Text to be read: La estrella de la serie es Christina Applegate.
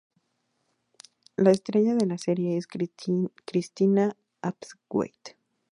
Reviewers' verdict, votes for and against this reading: rejected, 2, 4